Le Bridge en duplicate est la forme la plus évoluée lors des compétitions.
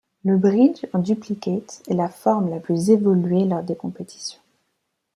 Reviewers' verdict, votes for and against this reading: accepted, 2, 0